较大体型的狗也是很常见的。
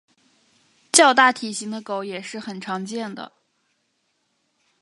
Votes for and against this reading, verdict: 3, 0, accepted